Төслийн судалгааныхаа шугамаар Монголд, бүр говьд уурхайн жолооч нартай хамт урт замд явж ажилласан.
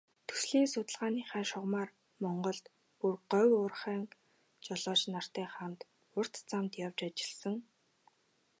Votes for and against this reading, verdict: 0, 2, rejected